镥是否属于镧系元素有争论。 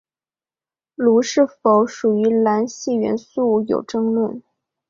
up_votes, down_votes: 2, 0